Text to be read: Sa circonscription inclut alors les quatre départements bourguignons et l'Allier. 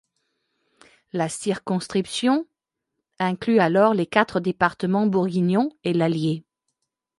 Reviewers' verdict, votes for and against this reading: rejected, 0, 2